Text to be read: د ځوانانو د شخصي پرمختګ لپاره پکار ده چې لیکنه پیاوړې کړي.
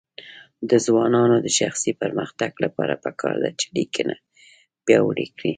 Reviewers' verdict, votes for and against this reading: accepted, 2, 0